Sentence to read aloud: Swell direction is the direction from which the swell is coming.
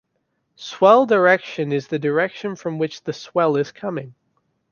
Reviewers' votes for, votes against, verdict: 2, 0, accepted